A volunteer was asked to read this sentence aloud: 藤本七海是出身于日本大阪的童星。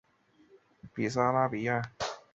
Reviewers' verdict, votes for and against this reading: rejected, 1, 3